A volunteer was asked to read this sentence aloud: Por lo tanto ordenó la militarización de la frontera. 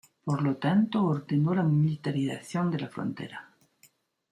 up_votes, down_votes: 1, 2